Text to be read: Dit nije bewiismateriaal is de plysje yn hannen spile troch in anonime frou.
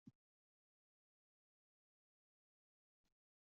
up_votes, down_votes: 1, 2